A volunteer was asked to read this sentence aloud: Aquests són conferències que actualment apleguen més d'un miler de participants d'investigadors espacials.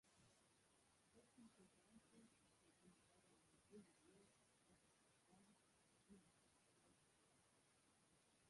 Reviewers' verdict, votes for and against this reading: rejected, 0, 3